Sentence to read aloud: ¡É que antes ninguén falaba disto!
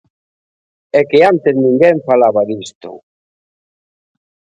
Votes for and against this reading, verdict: 2, 0, accepted